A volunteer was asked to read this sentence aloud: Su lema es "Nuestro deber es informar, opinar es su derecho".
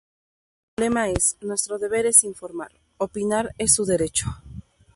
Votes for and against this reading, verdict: 0, 2, rejected